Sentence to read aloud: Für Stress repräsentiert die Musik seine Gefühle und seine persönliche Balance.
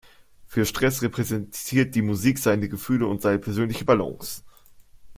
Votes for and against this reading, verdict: 2, 0, accepted